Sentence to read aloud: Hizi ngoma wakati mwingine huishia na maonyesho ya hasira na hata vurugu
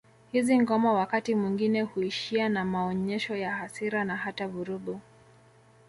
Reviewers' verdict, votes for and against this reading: rejected, 1, 2